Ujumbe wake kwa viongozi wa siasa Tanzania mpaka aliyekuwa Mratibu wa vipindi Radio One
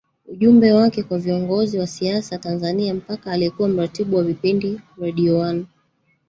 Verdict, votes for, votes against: rejected, 1, 2